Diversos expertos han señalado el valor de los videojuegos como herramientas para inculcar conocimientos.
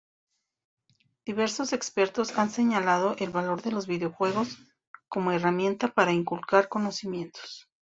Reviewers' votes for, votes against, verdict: 2, 0, accepted